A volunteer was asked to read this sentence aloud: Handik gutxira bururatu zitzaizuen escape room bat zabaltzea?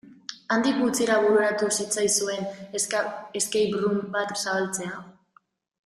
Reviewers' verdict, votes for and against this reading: rejected, 3, 4